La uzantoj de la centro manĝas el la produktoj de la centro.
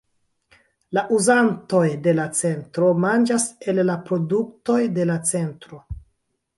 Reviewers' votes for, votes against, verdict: 2, 0, accepted